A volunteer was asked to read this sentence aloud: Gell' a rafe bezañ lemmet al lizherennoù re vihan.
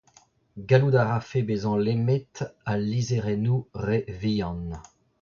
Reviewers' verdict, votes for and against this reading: rejected, 0, 2